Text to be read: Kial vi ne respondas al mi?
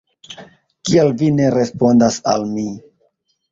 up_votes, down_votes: 1, 2